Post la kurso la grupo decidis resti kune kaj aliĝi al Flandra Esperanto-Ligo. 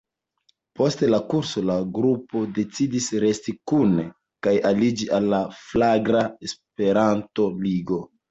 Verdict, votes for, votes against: rejected, 1, 2